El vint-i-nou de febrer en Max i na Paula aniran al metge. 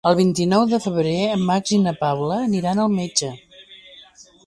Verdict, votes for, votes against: accepted, 3, 0